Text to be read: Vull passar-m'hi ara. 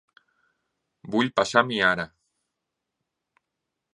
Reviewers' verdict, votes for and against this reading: rejected, 1, 2